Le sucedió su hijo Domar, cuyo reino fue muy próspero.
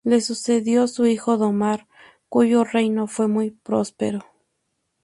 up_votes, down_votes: 2, 0